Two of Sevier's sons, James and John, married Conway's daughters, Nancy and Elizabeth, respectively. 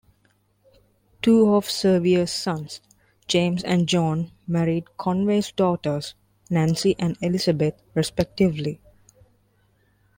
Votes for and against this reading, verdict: 2, 0, accepted